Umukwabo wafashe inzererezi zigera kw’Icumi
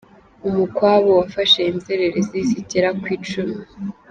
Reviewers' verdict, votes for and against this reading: accepted, 2, 0